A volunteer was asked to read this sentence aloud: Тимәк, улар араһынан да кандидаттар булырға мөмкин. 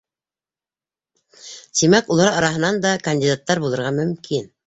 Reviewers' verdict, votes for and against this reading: accepted, 3, 0